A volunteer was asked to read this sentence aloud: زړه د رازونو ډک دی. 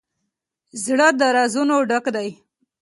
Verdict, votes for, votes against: accepted, 2, 0